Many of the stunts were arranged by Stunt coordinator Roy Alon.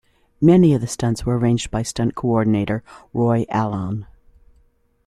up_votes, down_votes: 3, 0